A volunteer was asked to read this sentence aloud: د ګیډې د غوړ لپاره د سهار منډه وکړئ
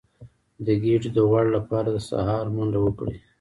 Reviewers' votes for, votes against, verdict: 1, 2, rejected